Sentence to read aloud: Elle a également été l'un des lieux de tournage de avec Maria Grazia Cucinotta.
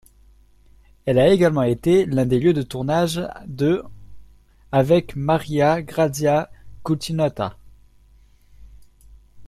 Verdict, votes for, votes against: rejected, 0, 2